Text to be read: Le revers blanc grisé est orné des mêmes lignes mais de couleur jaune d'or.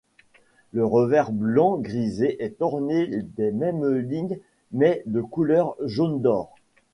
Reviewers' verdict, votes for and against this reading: accepted, 2, 0